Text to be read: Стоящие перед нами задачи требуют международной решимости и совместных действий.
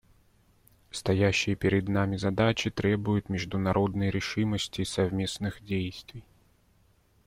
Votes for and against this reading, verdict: 2, 0, accepted